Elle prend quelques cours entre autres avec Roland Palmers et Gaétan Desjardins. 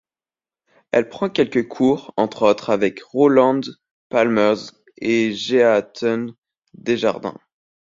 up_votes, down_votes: 1, 2